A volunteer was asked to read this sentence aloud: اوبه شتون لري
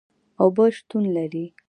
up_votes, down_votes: 2, 0